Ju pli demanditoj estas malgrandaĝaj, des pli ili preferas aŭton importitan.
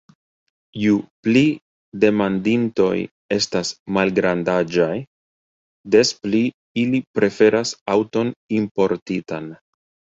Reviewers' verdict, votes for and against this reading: accepted, 3, 1